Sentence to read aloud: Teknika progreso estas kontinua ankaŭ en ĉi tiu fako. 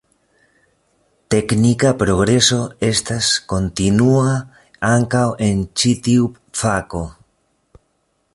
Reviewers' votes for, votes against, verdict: 2, 1, accepted